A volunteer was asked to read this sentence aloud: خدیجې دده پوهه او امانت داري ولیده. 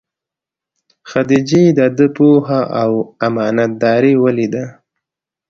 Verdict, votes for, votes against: accepted, 2, 0